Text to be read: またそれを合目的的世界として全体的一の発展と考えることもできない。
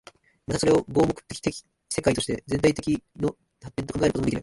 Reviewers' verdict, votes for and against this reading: rejected, 3, 7